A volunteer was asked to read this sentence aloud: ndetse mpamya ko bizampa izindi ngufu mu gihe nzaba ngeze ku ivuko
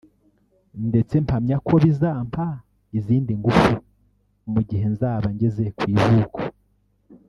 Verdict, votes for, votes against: rejected, 1, 2